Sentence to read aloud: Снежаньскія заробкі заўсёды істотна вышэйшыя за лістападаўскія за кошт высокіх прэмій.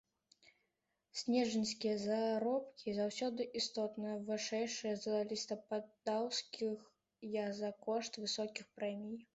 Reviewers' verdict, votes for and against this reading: rejected, 0, 2